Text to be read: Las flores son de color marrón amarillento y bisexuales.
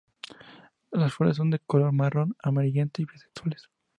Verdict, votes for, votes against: rejected, 0, 2